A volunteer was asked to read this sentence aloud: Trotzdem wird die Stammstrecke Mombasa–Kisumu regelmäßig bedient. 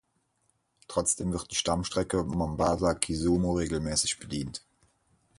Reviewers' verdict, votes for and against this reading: accepted, 4, 2